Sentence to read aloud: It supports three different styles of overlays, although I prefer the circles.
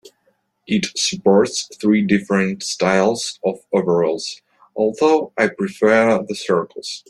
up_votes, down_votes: 2, 1